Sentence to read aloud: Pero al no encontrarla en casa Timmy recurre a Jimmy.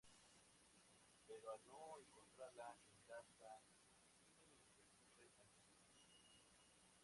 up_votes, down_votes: 0, 2